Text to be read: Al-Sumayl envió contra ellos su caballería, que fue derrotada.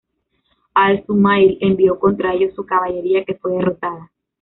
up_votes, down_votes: 0, 2